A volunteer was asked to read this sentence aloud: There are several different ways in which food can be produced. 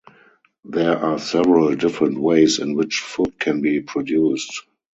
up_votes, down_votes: 0, 2